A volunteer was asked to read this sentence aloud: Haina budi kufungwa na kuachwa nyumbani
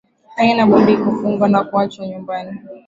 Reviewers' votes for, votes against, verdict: 4, 3, accepted